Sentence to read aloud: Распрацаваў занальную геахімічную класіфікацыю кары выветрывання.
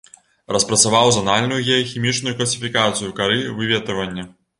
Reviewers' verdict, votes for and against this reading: accepted, 2, 0